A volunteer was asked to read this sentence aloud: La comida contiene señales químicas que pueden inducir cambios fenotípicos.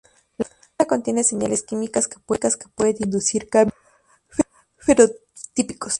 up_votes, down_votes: 2, 0